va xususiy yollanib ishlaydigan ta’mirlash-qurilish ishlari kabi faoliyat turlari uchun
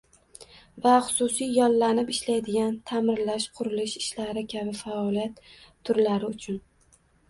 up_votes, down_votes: 0, 2